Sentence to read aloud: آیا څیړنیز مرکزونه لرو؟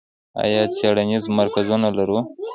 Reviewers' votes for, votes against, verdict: 2, 1, accepted